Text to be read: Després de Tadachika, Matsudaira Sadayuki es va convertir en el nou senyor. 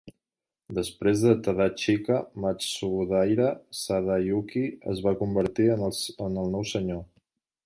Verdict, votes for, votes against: rejected, 1, 2